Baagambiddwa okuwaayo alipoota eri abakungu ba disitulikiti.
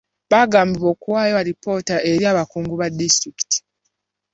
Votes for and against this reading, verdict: 0, 2, rejected